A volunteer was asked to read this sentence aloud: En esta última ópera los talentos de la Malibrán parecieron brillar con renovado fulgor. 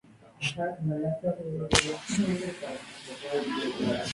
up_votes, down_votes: 0, 2